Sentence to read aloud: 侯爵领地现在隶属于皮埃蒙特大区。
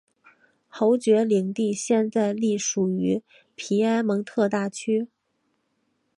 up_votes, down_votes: 1, 2